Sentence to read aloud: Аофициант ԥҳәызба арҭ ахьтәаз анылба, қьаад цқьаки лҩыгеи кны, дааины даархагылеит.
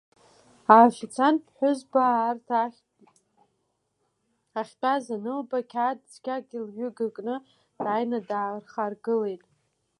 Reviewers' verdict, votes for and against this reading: rejected, 0, 2